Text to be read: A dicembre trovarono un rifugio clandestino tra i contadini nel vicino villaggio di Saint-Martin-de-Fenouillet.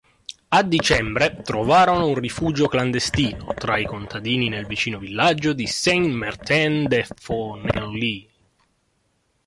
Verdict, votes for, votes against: rejected, 0, 2